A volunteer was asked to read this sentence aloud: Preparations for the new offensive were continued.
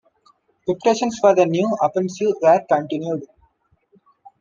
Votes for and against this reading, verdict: 1, 2, rejected